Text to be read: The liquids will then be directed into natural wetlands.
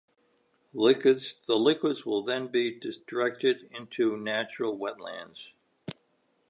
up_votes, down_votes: 1, 2